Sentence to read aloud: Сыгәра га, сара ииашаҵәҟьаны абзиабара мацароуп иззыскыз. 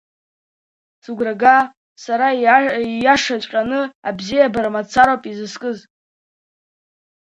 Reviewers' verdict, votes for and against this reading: rejected, 0, 2